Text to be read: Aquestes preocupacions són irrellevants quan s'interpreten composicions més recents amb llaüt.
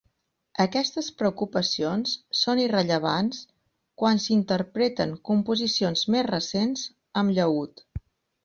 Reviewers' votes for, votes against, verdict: 4, 0, accepted